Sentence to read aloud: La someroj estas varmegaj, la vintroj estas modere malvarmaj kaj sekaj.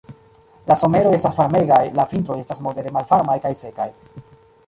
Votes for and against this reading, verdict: 0, 2, rejected